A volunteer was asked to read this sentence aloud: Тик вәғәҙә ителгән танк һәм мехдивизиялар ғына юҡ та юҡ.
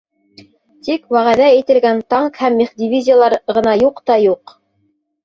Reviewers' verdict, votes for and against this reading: rejected, 1, 2